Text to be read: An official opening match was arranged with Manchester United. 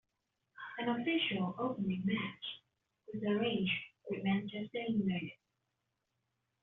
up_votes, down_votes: 2, 0